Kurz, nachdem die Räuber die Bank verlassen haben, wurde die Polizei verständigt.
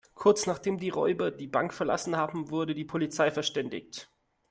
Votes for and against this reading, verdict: 2, 0, accepted